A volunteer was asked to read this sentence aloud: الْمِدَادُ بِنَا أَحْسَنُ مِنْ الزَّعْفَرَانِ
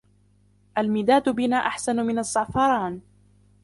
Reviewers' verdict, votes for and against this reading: accepted, 2, 0